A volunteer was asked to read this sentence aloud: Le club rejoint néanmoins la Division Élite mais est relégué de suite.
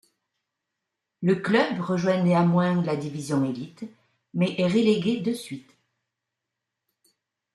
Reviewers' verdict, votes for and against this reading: accepted, 2, 0